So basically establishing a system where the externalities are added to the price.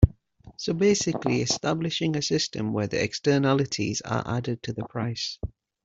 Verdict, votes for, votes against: accepted, 2, 0